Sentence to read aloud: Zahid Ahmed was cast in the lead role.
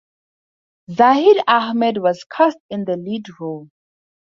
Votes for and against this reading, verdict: 2, 2, rejected